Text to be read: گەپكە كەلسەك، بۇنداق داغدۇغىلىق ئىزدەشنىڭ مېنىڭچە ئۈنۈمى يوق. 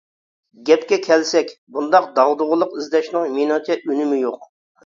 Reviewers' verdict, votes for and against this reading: accepted, 2, 0